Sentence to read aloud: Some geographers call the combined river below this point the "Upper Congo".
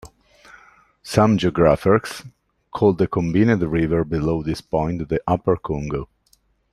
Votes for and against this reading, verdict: 2, 3, rejected